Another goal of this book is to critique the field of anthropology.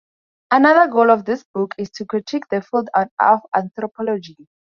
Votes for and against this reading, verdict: 0, 4, rejected